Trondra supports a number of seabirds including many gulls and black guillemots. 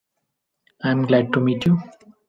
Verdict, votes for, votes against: rejected, 0, 2